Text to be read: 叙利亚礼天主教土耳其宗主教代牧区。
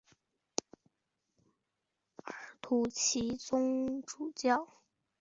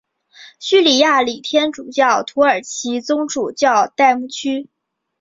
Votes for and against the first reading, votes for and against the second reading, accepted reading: 0, 2, 2, 0, second